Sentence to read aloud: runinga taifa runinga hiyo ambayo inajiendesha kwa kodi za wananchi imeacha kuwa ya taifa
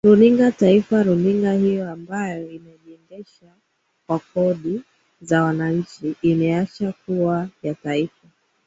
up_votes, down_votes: 4, 2